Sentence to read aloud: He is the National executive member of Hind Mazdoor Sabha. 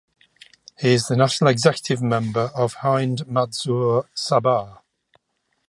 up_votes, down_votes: 2, 1